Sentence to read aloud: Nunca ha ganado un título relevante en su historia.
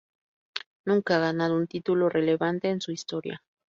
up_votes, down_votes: 2, 0